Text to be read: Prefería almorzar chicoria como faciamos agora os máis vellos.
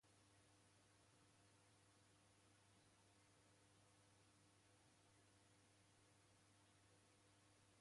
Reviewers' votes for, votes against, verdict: 0, 2, rejected